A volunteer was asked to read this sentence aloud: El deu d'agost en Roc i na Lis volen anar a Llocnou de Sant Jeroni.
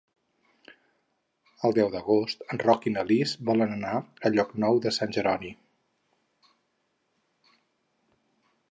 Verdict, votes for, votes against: accepted, 10, 0